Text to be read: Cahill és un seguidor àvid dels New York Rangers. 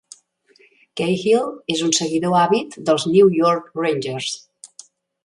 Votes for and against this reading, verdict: 2, 0, accepted